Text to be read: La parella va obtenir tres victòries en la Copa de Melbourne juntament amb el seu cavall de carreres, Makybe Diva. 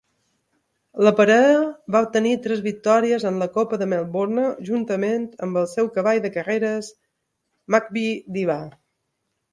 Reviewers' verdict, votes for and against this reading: accepted, 2, 1